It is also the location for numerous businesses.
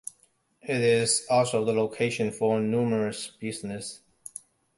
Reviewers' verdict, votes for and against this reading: rejected, 1, 2